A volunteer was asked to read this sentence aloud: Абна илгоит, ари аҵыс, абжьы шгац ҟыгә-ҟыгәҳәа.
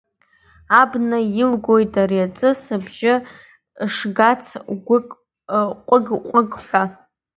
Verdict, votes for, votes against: rejected, 0, 2